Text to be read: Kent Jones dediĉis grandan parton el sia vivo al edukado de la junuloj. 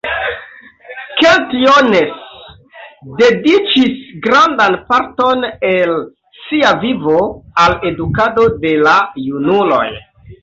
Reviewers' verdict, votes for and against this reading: accepted, 2, 0